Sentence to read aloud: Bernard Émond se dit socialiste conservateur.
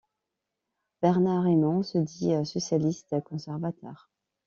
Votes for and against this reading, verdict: 2, 0, accepted